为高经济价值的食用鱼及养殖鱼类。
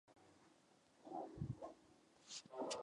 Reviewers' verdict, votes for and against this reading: rejected, 1, 2